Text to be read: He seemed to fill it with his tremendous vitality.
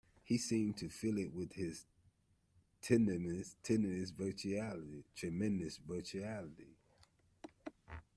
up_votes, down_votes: 0, 2